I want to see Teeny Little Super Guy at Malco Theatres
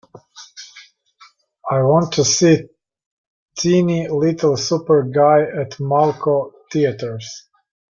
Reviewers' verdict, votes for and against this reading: accepted, 2, 0